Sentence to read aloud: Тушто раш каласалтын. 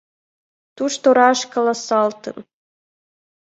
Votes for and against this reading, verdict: 2, 1, accepted